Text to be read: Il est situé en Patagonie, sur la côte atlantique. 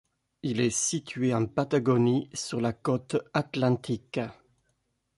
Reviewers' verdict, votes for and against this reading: accepted, 2, 0